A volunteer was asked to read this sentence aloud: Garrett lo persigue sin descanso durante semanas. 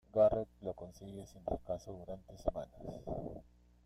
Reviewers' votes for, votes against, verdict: 1, 2, rejected